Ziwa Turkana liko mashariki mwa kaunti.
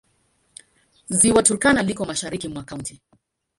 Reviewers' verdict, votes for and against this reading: accepted, 2, 1